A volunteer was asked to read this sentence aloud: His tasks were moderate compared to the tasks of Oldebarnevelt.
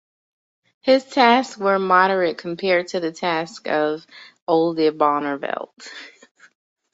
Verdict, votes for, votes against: accepted, 2, 0